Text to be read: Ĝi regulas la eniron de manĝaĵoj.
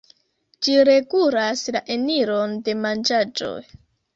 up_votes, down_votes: 1, 3